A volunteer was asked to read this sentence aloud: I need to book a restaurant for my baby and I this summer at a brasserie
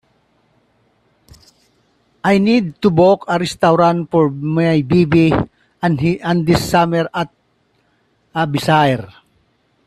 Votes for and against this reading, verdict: 0, 2, rejected